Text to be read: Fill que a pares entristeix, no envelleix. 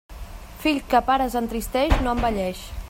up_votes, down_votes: 2, 1